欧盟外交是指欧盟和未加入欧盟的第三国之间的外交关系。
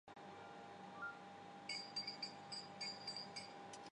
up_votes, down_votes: 0, 2